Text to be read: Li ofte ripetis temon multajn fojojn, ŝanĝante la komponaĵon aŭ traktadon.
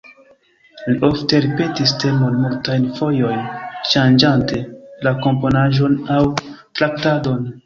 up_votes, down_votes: 0, 2